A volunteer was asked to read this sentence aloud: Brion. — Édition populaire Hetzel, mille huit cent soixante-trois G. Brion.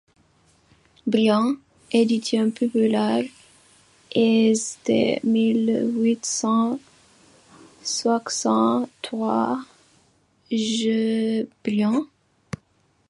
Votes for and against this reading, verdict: 2, 0, accepted